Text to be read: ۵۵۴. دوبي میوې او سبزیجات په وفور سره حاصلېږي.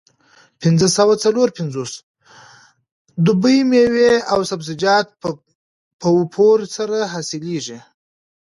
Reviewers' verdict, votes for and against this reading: rejected, 0, 2